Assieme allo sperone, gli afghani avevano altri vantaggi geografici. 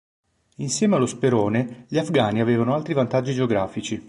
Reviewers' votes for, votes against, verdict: 0, 2, rejected